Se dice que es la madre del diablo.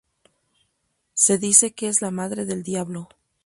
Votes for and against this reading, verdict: 2, 0, accepted